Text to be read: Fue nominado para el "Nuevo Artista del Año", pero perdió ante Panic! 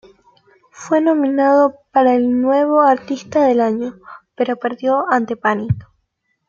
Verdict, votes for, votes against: accepted, 2, 0